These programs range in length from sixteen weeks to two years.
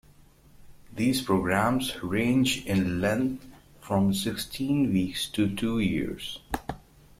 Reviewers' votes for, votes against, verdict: 2, 0, accepted